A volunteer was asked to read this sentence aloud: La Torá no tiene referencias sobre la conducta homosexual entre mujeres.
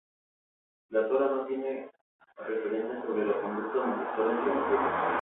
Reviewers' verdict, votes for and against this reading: rejected, 0, 2